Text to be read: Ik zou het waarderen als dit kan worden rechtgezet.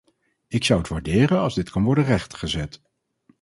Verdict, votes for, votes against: accepted, 2, 0